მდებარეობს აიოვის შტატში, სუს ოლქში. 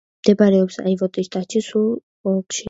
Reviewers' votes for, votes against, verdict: 0, 2, rejected